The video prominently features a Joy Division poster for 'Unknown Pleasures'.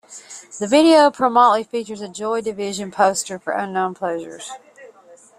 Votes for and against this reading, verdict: 0, 2, rejected